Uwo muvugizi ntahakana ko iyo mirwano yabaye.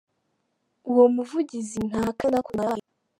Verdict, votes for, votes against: rejected, 0, 2